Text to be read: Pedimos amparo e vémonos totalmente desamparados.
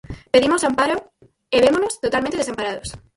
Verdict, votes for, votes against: rejected, 0, 4